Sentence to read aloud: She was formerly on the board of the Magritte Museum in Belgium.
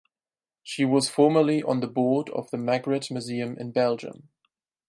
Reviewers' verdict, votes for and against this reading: accepted, 6, 0